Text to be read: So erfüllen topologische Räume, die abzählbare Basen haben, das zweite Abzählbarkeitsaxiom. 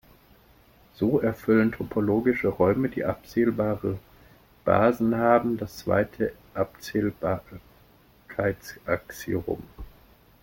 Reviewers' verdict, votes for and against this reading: rejected, 0, 2